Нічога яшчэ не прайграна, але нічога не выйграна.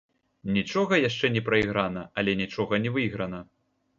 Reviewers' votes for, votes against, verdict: 1, 2, rejected